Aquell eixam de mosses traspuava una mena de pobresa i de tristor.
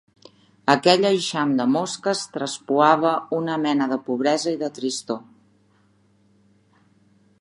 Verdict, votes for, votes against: rejected, 0, 2